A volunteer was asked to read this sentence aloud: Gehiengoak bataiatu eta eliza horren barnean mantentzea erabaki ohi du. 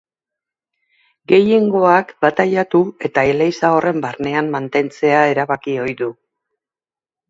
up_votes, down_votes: 0, 3